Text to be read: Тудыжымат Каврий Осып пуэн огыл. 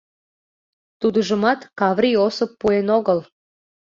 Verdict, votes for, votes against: accepted, 2, 0